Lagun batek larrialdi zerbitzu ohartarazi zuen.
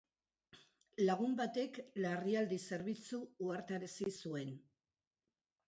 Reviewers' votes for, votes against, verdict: 2, 0, accepted